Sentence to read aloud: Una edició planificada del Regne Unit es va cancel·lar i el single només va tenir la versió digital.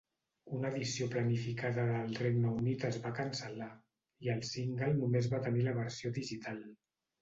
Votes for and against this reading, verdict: 0, 2, rejected